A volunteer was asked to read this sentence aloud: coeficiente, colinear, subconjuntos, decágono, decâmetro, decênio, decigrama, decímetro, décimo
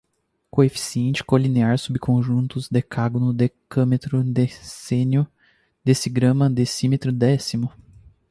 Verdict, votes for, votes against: rejected, 0, 4